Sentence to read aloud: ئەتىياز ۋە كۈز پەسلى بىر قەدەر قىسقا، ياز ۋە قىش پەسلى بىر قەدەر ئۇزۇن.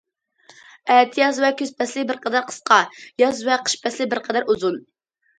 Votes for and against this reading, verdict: 2, 0, accepted